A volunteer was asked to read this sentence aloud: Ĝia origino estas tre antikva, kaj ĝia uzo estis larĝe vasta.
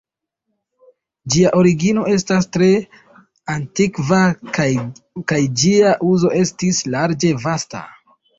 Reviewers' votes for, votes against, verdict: 1, 2, rejected